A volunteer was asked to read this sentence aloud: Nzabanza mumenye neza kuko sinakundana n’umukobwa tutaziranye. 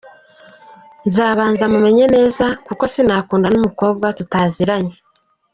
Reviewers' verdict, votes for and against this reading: rejected, 0, 2